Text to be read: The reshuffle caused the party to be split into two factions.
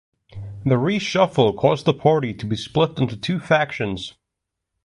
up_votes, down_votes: 2, 0